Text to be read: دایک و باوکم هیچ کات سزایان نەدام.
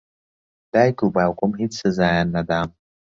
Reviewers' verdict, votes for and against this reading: rejected, 0, 2